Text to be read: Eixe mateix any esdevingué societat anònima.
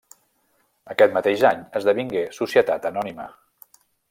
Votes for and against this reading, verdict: 0, 2, rejected